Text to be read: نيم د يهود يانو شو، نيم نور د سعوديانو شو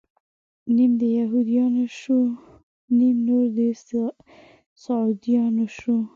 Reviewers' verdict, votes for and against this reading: rejected, 1, 2